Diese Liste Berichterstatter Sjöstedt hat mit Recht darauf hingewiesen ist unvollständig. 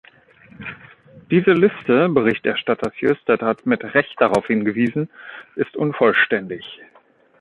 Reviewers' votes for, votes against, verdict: 2, 0, accepted